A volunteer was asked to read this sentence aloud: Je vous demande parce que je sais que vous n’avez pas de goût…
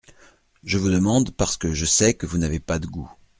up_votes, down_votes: 2, 0